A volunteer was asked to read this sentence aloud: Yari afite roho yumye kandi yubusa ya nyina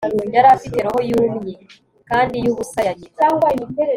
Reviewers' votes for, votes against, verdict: 3, 0, accepted